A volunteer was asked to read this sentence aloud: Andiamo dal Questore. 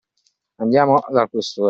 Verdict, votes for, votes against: rejected, 1, 2